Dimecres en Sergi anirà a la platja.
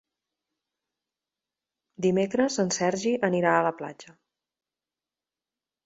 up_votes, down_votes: 3, 0